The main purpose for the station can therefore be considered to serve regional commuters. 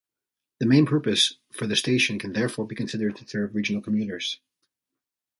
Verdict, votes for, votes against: rejected, 1, 2